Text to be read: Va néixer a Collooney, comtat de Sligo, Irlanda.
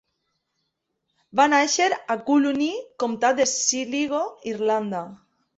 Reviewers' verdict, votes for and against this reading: rejected, 1, 2